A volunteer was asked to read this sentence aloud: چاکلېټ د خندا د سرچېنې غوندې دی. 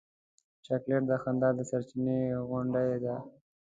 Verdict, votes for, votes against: accepted, 2, 1